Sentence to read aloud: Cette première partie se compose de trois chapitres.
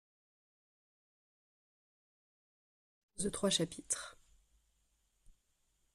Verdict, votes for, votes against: rejected, 0, 2